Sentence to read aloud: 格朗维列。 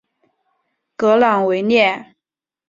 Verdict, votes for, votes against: accepted, 2, 0